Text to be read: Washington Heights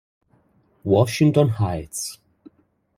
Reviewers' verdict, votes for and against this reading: accepted, 2, 0